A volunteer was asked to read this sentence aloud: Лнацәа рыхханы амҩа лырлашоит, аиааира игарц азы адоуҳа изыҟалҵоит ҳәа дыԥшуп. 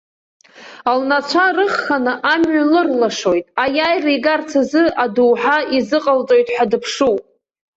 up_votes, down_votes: 1, 2